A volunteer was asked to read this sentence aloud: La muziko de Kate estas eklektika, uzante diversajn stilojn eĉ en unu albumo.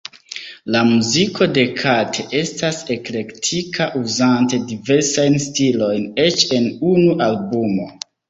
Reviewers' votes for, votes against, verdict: 2, 1, accepted